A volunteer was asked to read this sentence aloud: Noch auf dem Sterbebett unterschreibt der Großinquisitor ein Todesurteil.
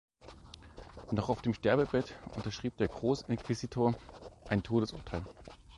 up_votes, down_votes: 0, 2